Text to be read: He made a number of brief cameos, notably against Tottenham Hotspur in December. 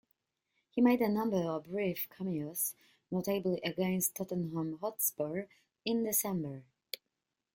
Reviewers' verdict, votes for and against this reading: rejected, 0, 2